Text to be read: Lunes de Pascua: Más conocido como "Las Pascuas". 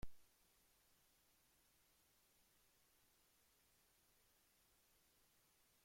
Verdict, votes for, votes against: rejected, 0, 2